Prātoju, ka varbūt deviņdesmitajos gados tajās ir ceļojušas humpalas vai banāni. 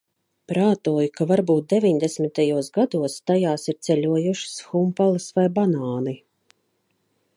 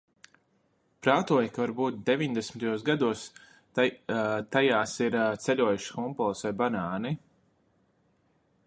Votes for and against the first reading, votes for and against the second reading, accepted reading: 2, 0, 0, 2, first